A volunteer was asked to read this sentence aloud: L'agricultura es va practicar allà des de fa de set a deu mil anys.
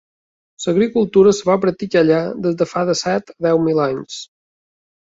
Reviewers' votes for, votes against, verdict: 0, 2, rejected